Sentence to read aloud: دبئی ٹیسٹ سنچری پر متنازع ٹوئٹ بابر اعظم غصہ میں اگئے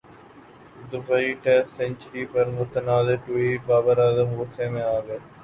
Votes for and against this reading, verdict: 2, 2, rejected